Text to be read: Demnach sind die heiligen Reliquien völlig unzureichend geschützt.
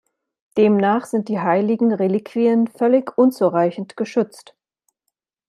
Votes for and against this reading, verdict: 2, 0, accepted